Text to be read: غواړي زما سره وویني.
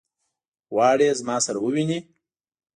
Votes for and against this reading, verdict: 2, 0, accepted